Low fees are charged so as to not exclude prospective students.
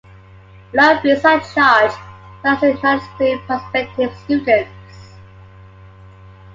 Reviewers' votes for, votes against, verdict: 1, 2, rejected